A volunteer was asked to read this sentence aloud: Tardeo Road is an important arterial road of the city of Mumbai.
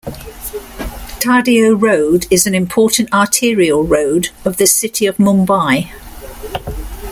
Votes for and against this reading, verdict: 2, 0, accepted